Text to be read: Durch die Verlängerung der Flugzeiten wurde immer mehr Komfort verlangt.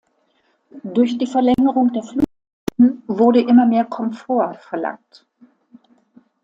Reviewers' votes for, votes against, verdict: 0, 2, rejected